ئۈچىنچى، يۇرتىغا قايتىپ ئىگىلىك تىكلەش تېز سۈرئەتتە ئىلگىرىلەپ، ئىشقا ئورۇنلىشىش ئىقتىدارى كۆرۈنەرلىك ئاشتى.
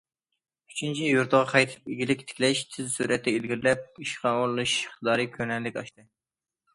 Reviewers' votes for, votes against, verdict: 2, 0, accepted